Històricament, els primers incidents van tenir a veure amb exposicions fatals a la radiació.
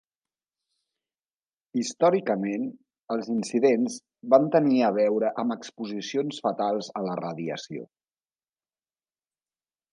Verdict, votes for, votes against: rejected, 0, 2